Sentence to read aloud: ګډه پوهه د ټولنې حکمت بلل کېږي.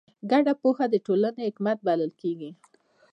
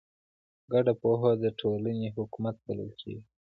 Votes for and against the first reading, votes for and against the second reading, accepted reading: 2, 0, 0, 2, first